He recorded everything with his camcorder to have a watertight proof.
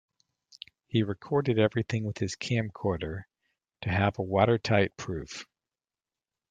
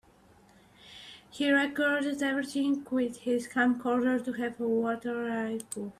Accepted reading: first